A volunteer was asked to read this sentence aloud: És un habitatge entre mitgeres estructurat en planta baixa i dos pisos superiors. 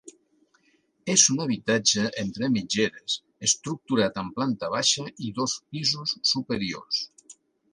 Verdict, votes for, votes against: accepted, 3, 0